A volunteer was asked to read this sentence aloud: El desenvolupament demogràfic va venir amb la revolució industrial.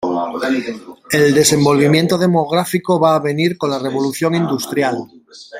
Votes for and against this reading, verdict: 0, 2, rejected